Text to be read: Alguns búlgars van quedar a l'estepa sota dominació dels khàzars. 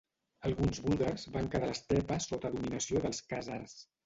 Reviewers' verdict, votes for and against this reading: rejected, 1, 2